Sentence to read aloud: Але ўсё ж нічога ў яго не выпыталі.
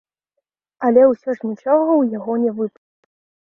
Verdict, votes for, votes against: rejected, 0, 2